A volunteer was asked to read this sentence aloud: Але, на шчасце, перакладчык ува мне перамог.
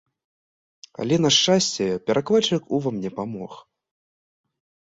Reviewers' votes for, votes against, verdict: 0, 2, rejected